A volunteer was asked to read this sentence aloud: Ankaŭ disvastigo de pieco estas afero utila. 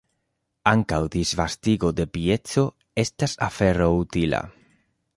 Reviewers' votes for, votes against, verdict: 2, 0, accepted